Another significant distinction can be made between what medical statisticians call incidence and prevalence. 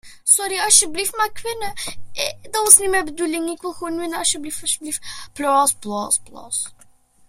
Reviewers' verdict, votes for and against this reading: rejected, 0, 2